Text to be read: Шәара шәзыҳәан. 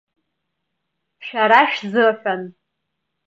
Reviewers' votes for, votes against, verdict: 0, 2, rejected